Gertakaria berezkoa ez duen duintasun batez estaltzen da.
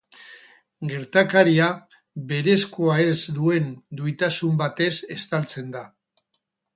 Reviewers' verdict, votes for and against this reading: rejected, 2, 6